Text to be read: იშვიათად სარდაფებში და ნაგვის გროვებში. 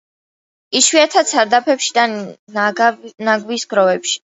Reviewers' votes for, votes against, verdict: 0, 2, rejected